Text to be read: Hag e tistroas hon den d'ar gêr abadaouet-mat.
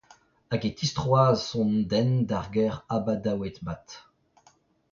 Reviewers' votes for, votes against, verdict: 0, 2, rejected